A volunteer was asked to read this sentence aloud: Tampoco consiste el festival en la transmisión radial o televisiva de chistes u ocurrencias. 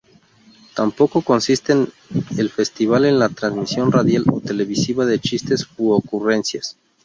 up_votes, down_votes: 0, 2